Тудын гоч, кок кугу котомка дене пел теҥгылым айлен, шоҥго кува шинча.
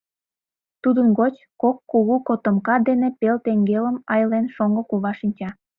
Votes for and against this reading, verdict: 0, 2, rejected